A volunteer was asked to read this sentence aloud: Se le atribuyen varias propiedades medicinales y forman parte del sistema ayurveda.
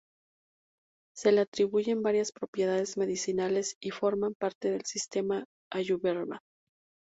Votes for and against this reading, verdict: 0, 2, rejected